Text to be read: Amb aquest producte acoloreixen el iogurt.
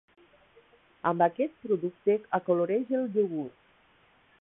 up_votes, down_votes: 0, 2